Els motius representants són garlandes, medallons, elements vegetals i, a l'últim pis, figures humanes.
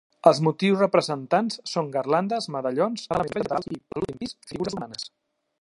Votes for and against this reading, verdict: 0, 2, rejected